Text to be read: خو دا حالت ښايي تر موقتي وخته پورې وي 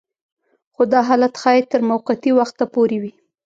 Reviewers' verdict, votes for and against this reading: accepted, 2, 1